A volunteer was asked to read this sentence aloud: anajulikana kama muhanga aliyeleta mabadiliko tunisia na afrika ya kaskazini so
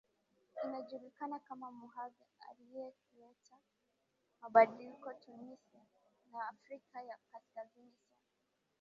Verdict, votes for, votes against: rejected, 4, 8